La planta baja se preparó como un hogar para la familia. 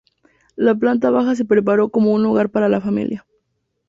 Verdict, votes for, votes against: accepted, 2, 0